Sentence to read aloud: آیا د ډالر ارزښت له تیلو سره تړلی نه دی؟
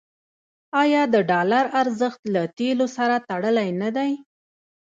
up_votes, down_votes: 1, 2